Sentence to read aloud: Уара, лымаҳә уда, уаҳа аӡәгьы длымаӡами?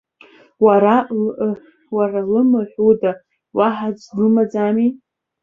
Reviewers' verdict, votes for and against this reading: accepted, 2, 1